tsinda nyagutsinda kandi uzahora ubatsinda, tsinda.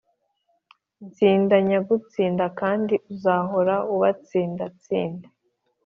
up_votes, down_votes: 3, 0